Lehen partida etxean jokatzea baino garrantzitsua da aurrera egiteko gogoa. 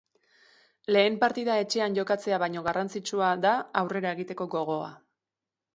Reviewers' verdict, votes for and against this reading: accepted, 2, 0